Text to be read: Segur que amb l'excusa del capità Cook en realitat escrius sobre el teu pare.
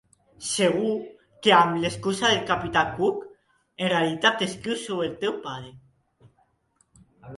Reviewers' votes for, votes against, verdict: 4, 0, accepted